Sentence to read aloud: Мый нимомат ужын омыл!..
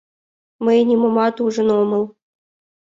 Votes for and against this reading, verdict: 2, 0, accepted